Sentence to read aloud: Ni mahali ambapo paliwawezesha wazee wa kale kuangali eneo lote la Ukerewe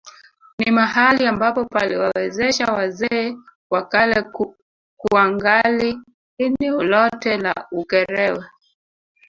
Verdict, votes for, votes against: accepted, 2, 1